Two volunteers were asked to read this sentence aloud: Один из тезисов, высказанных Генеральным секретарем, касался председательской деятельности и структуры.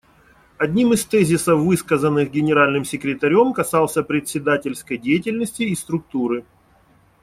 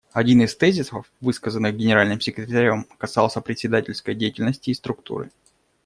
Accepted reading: second